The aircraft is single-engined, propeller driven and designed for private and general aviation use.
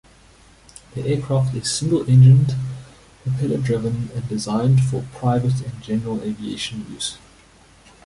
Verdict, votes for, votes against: accepted, 2, 0